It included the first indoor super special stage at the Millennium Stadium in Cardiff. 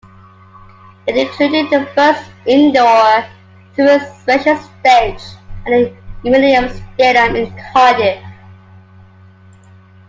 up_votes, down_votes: 2, 1